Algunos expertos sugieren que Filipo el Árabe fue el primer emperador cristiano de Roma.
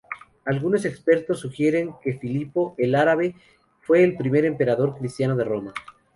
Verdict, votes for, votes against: rejected, 0, 2